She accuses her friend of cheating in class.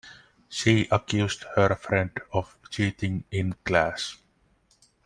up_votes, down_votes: 0, 2